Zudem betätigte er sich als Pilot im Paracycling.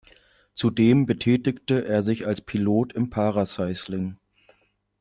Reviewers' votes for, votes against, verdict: 0, 2, rejected